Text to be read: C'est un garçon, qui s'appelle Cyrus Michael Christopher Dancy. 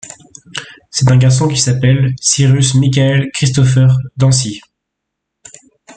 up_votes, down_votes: 2, 0